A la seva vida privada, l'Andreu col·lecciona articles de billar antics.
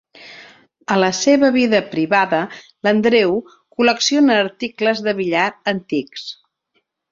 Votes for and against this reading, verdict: 3, 0, accepted